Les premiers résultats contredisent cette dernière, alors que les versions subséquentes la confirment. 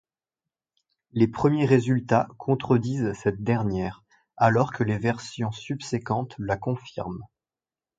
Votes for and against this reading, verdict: 2, 0, accepted